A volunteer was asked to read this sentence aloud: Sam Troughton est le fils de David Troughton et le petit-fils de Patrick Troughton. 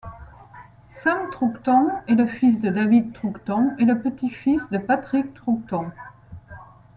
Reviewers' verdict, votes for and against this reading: accepted, 2, 0